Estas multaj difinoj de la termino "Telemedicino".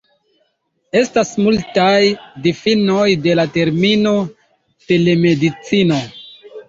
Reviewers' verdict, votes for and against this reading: rejected, 1, 2